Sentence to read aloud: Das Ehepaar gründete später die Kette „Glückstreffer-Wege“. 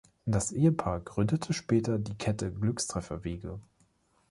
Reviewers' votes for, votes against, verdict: 2, 0, accepted